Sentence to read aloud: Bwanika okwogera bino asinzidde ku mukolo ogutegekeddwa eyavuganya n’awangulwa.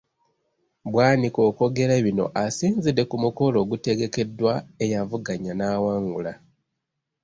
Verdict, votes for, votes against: rejected, 0, 2